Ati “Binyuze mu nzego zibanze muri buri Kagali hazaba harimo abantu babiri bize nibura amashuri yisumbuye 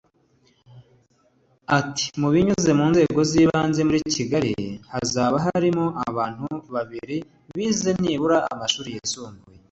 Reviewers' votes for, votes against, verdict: 1, 2, rejected